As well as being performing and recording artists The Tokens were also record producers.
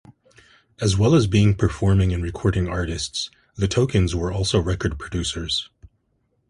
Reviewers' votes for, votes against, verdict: 2, 0, accepted